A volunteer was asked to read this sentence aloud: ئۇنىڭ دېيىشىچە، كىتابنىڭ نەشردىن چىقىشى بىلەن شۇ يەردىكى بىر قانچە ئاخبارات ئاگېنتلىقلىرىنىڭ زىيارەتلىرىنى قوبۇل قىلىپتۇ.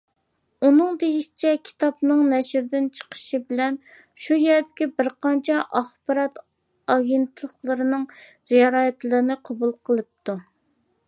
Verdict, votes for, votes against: accepted, 2, 1